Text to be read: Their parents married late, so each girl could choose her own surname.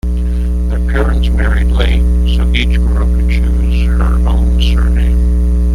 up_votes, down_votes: 1, 2